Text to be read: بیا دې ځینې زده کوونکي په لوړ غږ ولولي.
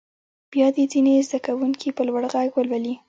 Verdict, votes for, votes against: rejected, 1, 2